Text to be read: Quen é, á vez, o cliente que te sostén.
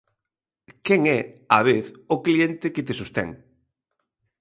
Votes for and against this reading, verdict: 2, 0, accepted